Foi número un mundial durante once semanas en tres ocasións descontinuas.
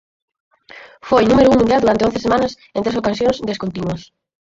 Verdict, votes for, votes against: rejected, 0, 4